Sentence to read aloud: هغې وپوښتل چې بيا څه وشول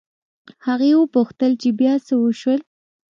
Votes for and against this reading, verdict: 2, 0, accepted